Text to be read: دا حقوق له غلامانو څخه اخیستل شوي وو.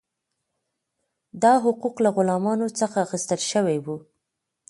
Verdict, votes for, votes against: accepted, 2, 0